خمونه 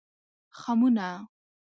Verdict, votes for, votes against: accepted, 3, 0